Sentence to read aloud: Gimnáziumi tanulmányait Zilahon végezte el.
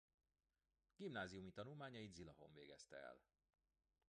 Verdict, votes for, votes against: rejected, 1, 2